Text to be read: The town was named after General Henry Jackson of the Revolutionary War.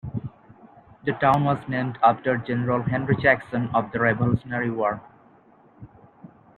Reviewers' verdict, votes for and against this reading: accepted, 2, 0